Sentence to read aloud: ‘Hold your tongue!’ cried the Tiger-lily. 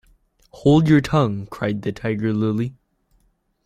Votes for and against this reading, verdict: 2, 1, accepted